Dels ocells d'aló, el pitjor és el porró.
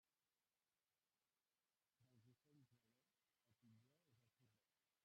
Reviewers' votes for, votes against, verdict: 0, 2, rejected